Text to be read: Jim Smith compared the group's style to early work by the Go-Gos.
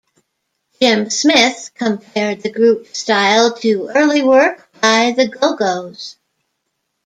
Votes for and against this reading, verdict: 2, 1, accepted